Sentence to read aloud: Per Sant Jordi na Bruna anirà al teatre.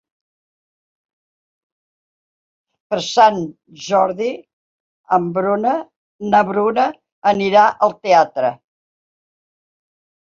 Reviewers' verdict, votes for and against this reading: accepted, 4, 2